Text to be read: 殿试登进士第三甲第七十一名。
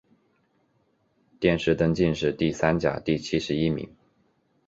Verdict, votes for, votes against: accepted, 5, 0